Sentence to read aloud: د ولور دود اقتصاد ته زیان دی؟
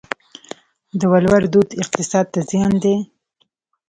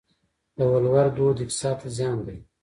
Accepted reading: first